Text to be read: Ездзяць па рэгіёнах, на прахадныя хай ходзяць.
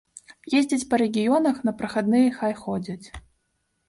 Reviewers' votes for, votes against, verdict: 2, 1, accepted